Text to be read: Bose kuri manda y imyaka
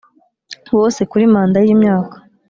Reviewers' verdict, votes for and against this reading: accepted, 2, 0